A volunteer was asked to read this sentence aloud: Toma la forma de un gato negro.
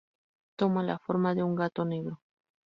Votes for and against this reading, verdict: 4, 0, accepted